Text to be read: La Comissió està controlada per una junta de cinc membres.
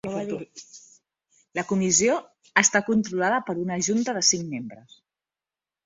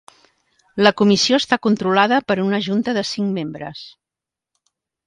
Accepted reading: second